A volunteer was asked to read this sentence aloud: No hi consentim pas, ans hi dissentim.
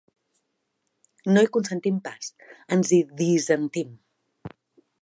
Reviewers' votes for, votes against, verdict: 1, 2, rejected